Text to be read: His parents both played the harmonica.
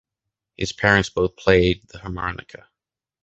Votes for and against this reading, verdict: 2, 0, accepted